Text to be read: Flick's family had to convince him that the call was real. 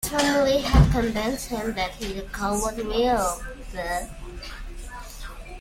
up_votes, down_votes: 0, 2